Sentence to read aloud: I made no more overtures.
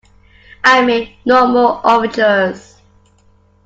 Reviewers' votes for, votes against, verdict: 2, 1, accepted